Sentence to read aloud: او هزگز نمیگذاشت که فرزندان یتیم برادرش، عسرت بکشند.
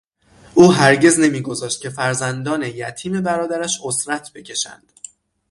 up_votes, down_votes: 6, 0